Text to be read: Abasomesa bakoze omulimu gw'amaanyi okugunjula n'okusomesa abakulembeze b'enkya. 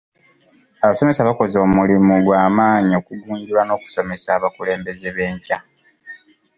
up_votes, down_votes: 2, 3